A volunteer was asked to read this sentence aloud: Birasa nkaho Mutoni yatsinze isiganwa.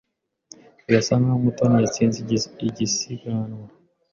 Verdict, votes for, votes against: rejected, 0, 2